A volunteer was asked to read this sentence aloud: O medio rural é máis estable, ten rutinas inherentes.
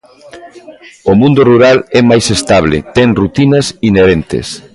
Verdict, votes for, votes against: rejected, 1, 2